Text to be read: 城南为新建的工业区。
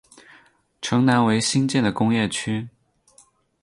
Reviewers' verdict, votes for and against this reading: accepted, 8, 0